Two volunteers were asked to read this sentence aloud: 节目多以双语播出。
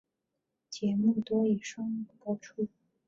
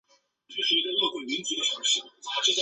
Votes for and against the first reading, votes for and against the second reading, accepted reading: 2, 1, 0, 3, first